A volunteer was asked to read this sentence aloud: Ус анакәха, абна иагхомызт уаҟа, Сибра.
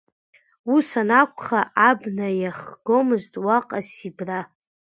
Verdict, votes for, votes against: rejected, 0, 2